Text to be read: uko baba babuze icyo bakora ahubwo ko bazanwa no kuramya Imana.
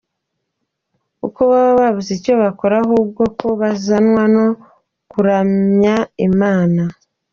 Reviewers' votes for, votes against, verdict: 3, 0, accepted